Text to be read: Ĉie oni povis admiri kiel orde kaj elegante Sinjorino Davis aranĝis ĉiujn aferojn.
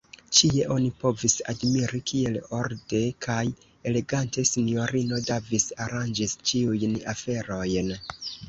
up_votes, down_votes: 1, 2